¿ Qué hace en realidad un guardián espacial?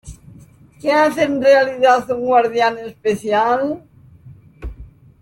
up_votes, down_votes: 0, 2